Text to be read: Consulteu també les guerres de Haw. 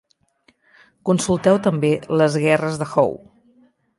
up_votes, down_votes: 2, 0